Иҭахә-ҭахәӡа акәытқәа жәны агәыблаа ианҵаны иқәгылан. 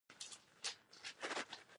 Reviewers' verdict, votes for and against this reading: rejected, 0, 2